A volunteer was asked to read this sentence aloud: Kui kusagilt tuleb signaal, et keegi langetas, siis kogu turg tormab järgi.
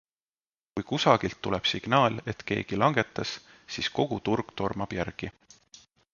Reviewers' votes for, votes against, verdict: 2, 0, accepted